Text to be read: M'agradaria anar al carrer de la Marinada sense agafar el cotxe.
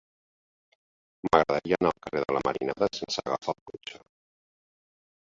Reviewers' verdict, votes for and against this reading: accepted, 3, 1